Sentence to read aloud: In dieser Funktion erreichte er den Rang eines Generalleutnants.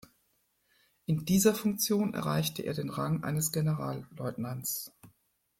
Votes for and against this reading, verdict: 2, 1, accepted